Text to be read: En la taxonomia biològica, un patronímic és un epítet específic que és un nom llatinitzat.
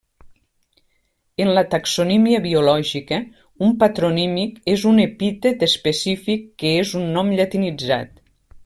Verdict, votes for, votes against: rejected, 1, 2